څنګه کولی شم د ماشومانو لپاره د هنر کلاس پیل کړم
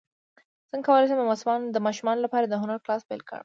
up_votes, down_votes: 2, 0